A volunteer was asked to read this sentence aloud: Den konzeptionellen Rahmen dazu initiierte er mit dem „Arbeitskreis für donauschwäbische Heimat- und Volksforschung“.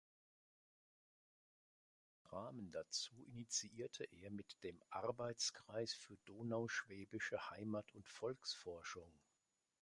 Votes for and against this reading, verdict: 1, 4, rejected